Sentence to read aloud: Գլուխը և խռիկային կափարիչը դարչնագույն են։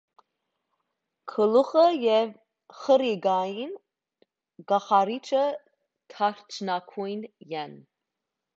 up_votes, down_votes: 0, 2